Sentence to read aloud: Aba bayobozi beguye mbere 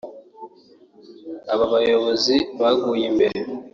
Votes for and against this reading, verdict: 0, 2, rejected